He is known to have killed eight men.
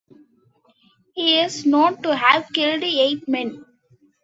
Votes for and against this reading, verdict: 1, 2, rejected